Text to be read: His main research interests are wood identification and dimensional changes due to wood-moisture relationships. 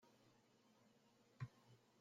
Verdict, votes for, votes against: rejected, 0, 2